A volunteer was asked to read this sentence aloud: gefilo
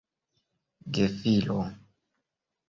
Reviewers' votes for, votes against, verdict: 2, 0, accepted